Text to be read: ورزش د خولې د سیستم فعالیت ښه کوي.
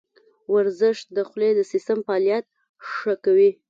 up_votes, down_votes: 2, 0